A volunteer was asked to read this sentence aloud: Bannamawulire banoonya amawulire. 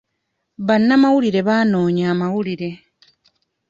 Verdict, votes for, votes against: rejected, 0, 2